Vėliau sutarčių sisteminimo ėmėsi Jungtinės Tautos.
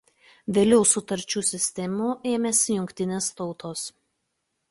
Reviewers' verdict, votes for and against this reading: rejected, 0, 2